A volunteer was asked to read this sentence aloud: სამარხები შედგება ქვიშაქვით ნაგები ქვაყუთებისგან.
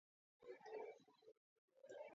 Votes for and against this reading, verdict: 0, 2, rejected